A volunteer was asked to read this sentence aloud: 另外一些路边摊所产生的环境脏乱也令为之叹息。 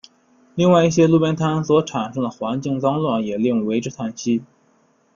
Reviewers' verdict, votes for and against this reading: accepted, 2, 0